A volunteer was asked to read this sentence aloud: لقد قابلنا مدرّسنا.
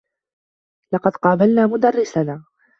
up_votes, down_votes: 2, 0